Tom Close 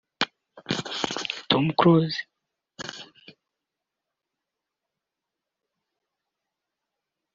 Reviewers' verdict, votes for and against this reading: rejected, 1, 2